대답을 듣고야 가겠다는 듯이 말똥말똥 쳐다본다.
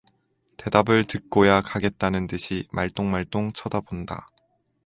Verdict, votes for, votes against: accepted, 4, 0